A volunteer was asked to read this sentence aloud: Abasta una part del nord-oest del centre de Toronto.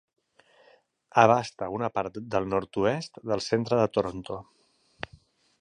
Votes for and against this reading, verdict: 3, 0, accepted